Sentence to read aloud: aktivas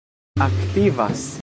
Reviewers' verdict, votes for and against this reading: rejected, 1, 2